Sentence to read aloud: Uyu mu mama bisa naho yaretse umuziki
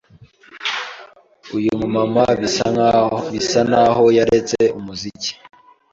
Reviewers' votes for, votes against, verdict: 0, 2, rejected